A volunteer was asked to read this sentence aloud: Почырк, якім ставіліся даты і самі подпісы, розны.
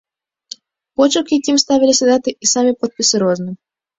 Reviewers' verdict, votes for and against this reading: accepted, 2, 0